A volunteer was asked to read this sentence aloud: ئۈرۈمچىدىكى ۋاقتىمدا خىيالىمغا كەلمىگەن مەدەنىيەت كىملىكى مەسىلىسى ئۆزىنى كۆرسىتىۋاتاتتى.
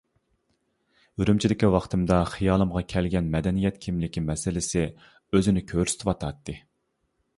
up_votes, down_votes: 1, 2